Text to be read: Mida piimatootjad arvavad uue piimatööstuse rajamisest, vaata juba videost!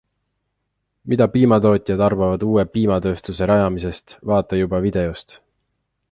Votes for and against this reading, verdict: 2, 0, accepted